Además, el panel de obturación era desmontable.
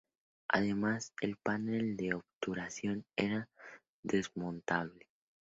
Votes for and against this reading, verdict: 2, 0, accepted